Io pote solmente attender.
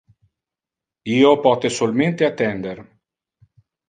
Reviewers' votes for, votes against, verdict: 0, 2, rejected